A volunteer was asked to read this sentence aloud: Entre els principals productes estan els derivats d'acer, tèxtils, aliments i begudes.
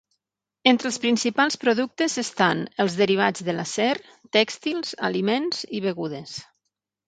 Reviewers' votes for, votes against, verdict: 3, 6, rejected